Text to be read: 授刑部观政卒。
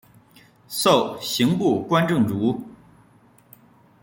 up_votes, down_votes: 3, 2